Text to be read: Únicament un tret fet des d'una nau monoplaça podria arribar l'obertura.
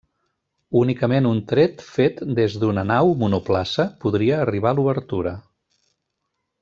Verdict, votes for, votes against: rejected, 0, 2